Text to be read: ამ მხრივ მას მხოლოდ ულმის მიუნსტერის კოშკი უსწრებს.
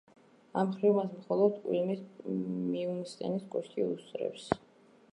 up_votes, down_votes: 0, 2